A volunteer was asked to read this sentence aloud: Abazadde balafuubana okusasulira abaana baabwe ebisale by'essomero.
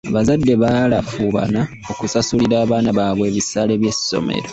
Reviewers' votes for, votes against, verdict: 1, 2, rejected